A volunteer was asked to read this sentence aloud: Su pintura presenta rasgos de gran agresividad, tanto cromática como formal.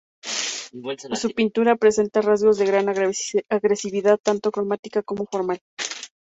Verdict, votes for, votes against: rejected, 0, 2